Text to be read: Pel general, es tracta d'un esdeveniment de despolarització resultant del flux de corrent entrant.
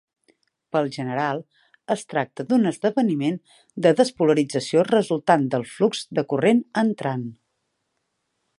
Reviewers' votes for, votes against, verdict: 3, 0, accepted